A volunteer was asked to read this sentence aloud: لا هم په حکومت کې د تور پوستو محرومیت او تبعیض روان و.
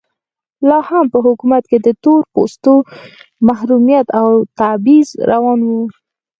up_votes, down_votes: 2, 4